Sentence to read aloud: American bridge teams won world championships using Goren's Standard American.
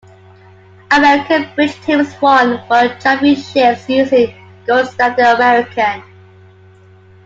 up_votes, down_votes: 0, 2